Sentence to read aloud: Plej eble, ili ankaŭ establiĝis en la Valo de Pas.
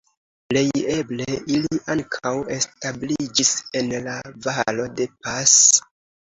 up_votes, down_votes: 2, 1